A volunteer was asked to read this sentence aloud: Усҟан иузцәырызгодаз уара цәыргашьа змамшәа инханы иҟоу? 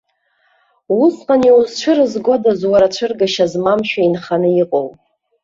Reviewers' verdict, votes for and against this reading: rejected, 0, 2